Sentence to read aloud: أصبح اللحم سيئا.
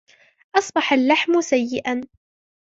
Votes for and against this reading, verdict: 2, 1, accepted